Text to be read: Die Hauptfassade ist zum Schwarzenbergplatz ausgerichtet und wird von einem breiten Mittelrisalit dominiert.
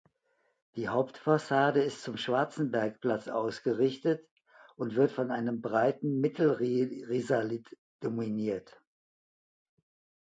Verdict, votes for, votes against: rejected, 0, 2